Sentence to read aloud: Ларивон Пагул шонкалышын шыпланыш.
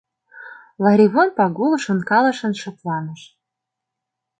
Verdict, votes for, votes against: accepted, 2, 0